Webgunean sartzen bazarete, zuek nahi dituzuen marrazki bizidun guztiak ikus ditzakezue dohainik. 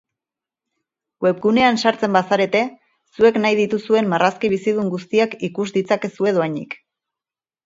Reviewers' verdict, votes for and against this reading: accepted, 6, 0